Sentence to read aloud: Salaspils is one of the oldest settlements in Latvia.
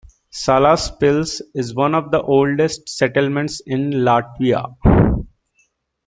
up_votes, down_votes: 3, 2